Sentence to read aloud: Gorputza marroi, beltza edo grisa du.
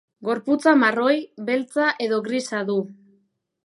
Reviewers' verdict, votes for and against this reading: accepted, 2, 0